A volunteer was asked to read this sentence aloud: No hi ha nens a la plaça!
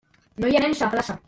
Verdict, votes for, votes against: rejected, 0, 2